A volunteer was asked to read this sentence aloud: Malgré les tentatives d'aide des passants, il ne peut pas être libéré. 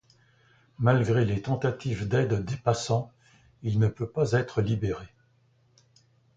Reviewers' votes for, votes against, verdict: 2, 0, accepted